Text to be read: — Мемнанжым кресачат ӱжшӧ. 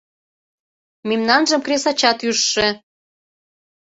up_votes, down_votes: 2, 0